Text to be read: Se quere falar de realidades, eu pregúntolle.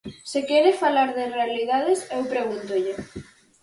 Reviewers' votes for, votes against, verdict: 4, 0, accepted